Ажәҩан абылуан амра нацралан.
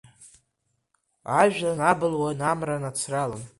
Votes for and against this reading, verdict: 2, 0, accepted